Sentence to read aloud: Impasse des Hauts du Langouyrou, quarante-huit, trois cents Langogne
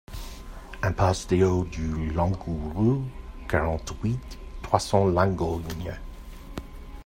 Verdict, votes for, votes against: accepted, 2, 0